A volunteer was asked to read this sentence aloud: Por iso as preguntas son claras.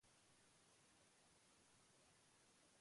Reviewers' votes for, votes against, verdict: 0, 2, rejected